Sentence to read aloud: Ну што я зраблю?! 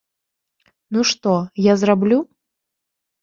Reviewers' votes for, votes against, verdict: 1, 2, rejected